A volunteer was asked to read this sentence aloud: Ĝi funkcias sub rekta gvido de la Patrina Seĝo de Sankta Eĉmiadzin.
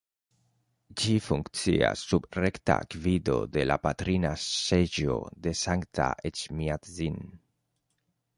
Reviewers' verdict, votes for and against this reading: accepted, 3, 0